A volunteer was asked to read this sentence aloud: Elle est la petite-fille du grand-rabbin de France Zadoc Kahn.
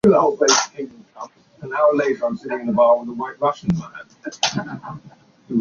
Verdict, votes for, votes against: rejected, 0, 2